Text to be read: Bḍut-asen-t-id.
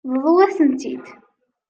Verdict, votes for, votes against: rejected, 0, 2